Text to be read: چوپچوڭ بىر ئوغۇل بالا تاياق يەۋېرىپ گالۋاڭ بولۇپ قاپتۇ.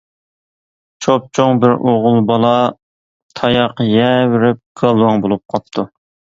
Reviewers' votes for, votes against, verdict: 2, 0, accepted